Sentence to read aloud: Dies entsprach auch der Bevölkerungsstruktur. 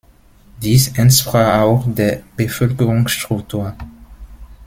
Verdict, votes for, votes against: rejected, 1, 2